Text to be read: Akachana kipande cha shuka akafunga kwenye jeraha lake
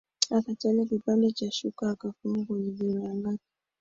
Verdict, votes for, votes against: accepted, 3, 2